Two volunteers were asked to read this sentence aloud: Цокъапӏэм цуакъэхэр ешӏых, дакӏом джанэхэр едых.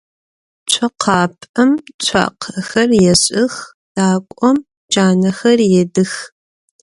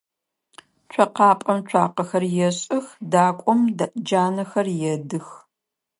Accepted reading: first